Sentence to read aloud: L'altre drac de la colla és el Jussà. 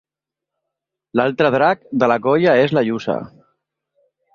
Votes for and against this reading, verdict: 0, 2, rejected